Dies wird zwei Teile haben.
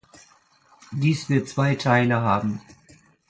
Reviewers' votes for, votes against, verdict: 2, 0, accepted